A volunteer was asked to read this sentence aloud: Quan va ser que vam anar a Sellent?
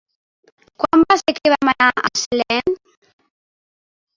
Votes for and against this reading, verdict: 0, 4, rejected